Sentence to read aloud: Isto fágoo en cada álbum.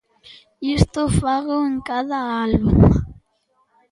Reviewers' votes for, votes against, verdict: 2, 0, accepted